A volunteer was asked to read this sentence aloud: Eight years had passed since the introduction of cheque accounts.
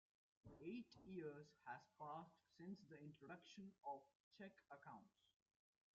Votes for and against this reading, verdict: 0, 2, rejected